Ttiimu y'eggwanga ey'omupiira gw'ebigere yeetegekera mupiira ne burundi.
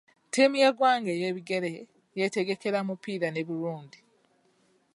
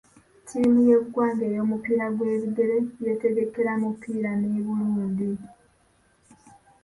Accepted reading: second